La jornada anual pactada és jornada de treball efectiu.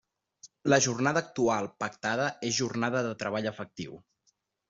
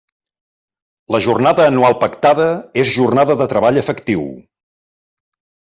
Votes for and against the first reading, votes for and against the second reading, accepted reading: 1, 2, 3, 0, second